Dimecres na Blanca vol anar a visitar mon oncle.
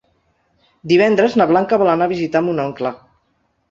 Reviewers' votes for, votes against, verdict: 0, 2, rejected